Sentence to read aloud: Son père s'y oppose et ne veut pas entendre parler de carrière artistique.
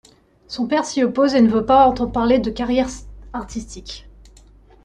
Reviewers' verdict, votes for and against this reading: rejected, 1, 2